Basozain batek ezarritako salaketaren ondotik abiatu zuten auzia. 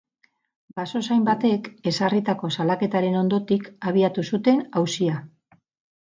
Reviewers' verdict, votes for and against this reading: accepted, 4, 0